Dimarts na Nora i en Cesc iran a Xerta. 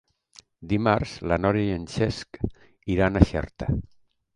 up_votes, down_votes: 1, 3